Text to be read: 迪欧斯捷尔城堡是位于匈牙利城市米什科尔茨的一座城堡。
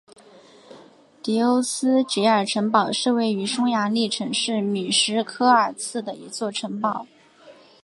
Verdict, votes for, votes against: accepted, 3, 0